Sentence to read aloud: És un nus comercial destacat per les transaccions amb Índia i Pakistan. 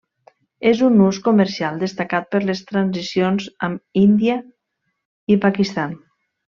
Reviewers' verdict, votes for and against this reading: rejected, 0, 2